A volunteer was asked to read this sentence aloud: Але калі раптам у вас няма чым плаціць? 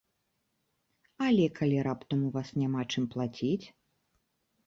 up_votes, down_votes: 2, 0